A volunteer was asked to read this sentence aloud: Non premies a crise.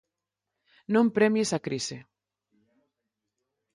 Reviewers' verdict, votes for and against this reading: accepted, 4, 0